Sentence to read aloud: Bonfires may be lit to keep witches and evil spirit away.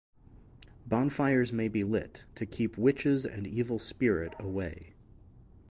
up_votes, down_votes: 4, 0